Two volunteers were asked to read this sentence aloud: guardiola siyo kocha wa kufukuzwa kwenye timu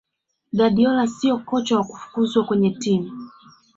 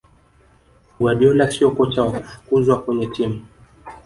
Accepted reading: first